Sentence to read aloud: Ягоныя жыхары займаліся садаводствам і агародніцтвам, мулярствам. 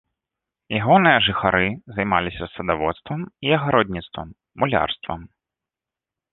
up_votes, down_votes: 2, 0